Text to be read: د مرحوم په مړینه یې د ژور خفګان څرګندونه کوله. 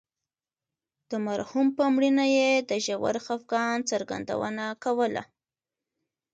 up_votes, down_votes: 2, 0